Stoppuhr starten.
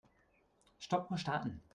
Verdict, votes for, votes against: rejected, 1, 2